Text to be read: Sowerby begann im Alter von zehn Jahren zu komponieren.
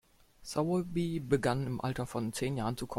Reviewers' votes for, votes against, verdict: 1, 2, rejected